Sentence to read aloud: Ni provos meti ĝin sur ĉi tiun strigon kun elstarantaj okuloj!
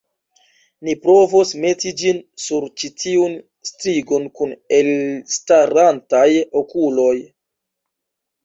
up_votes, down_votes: 1, 2